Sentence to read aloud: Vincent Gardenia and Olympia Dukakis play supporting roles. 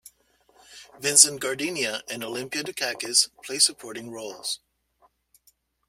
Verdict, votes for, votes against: accepted, 2, 1